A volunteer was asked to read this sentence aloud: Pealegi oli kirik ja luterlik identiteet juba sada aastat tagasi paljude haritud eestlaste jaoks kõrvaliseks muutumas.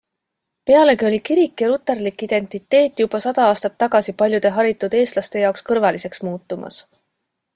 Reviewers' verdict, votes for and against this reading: accepted, 2, 0